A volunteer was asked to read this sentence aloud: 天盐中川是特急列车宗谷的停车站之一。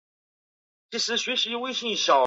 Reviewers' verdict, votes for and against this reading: rejected, 1, 3